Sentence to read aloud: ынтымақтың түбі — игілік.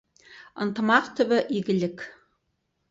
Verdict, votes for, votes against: rejected, 0, 4